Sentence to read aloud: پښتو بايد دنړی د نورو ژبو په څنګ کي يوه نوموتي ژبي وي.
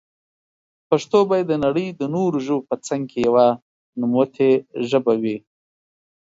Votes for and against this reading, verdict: 2, 0, accepted